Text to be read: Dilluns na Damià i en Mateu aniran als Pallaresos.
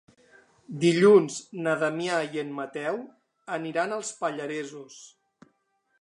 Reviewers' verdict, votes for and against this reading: accepted, 5, 0